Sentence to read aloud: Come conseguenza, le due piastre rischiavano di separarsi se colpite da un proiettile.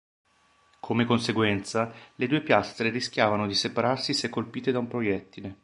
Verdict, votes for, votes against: accepted, 2, 0